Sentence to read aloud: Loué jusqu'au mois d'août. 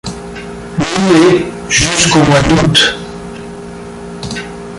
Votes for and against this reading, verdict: 0, 2, rejected